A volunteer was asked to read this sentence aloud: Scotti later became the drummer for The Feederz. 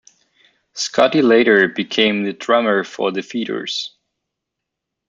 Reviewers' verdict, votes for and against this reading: accepted, 2, 0